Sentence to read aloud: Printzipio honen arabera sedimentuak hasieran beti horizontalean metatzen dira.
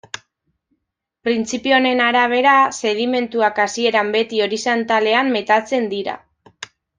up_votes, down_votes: 1, 2